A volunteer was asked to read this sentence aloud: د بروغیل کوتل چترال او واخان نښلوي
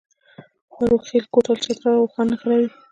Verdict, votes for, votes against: accepted, 2, 1